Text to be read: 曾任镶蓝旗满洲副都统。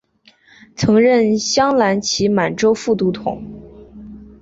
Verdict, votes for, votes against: accepted, 5, 0